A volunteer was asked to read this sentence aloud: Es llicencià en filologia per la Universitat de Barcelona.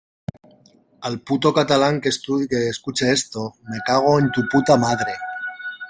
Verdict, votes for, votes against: rejected, 0, 2